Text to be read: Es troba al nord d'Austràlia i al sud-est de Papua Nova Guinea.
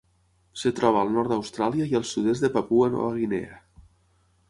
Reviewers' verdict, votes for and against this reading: rejected, 3, 6